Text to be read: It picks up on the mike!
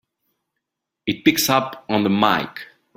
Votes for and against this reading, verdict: 3, 0, accepted